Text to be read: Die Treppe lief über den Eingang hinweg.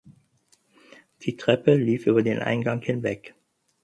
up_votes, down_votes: 4, 0